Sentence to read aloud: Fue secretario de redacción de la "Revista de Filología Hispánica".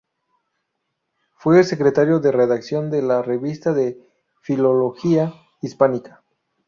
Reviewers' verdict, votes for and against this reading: rejected, 0, 2